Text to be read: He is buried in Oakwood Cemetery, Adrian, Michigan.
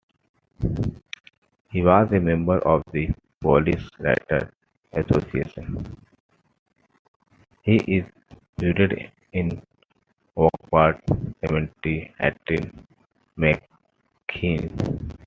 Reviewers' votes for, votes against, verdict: 0, 2, rejected